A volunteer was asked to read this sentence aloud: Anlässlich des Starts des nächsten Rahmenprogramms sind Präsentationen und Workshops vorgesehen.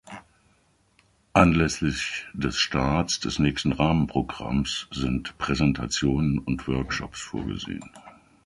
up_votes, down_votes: 2, 1